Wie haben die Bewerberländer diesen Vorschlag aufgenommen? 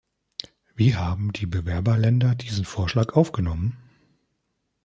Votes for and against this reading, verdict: 2, 0, accepted